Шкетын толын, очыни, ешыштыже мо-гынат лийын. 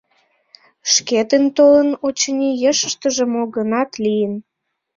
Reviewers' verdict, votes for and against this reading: accepted, 2, 0